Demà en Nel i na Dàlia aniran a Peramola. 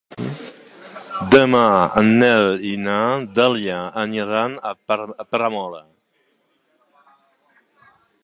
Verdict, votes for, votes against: rejected, 0, 2